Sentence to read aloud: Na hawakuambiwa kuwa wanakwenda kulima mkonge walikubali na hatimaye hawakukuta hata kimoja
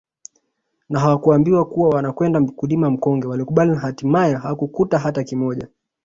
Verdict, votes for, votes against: rejected, 0, 2